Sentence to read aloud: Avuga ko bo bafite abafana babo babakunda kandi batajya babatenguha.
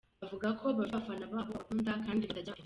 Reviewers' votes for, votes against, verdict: 0, 2, rejected